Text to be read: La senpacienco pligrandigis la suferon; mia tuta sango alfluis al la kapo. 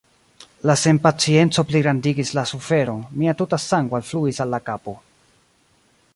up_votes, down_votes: 2, 1